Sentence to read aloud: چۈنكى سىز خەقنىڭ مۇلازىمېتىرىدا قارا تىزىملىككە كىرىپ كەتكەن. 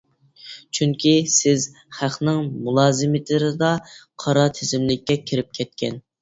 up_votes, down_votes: 2, 0